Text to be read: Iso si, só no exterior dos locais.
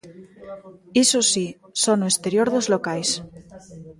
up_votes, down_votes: 1, 2